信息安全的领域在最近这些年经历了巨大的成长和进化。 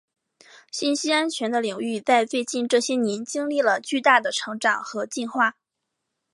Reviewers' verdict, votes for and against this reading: accepted, 2, 1